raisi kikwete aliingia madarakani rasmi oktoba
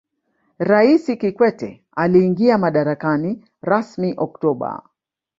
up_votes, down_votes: 5, 0